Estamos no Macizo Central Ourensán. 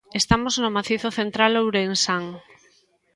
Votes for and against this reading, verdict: 2, 0, accepted